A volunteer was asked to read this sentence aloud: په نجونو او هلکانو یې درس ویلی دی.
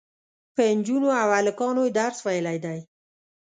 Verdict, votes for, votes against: accepted, 2, 0